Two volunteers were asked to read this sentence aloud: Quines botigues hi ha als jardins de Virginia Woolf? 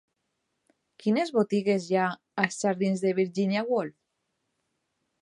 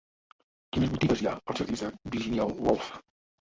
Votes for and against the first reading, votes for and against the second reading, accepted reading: 2, 0, 1, 2, first